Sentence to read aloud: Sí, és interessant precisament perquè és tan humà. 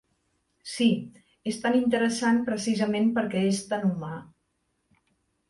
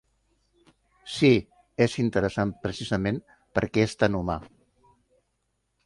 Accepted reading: second